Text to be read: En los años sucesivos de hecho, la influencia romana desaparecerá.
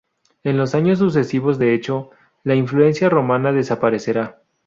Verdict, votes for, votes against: accepted, 2, 0